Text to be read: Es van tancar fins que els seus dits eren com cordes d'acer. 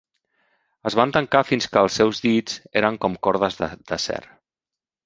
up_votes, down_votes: 1, 2